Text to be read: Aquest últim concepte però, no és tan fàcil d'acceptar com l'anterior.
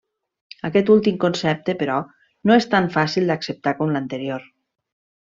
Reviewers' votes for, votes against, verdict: 3, 0, accepted